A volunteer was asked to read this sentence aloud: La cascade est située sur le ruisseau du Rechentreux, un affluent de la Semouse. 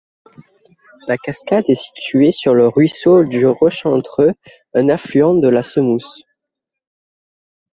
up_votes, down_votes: 1, 2